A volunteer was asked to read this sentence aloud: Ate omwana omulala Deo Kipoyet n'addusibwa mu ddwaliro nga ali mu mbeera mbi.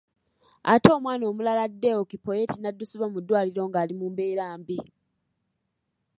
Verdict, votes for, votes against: accepted, 2, 0